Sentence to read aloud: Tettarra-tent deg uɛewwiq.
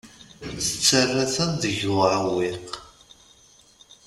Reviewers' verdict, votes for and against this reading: rejected, 1, 2